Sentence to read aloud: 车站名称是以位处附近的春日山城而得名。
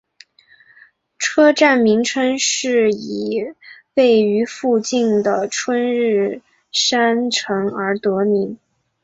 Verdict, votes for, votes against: rejected, 0, 3